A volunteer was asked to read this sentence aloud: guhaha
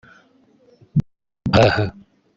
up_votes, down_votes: 0, 2